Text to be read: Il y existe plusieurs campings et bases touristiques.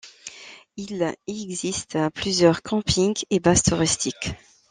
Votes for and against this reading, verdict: 0, 2, rejected